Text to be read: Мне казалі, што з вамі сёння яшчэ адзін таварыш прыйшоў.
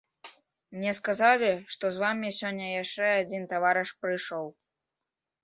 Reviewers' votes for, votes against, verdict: 0, 2, rejected